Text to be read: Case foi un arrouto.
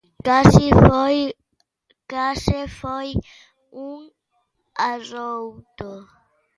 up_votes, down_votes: 0, 2